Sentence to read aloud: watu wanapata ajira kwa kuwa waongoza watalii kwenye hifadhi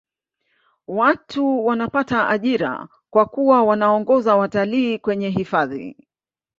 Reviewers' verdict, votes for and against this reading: accepted, 2, 0